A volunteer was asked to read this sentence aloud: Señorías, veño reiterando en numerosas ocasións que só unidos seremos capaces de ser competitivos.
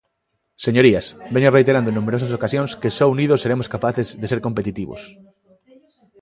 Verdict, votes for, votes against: accepted, 2, 0